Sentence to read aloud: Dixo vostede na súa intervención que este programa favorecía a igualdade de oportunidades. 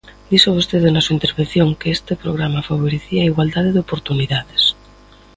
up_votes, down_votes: 2, 0